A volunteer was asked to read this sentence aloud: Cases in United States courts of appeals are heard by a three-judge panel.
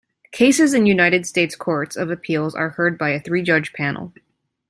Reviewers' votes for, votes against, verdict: 2, 0, accepted